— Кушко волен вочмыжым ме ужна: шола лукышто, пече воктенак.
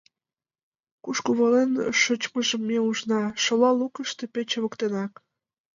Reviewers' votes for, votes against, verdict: 2, 0, accepted